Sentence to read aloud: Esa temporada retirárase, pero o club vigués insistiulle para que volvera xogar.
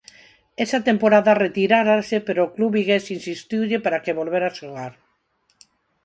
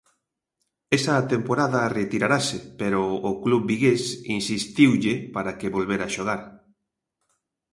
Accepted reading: first